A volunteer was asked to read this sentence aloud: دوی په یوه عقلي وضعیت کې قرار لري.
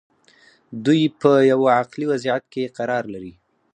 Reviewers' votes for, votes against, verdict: 2, 4, rejected